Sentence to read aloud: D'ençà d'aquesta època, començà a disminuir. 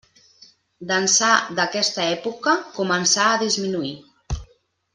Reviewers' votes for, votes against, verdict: 2, 0, accepted